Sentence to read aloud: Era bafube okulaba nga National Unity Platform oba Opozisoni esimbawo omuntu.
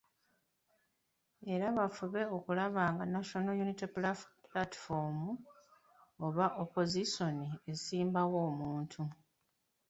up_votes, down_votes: 2, 1